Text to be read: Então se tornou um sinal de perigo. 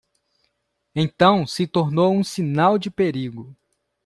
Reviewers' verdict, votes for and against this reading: accepted, 2, 0